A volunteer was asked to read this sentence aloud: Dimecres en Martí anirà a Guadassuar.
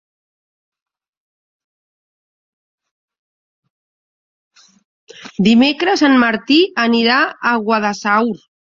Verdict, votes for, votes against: rejected, 1, 3